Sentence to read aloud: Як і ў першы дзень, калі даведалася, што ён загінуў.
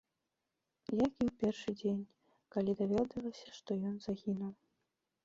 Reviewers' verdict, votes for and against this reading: rejected, 1, 2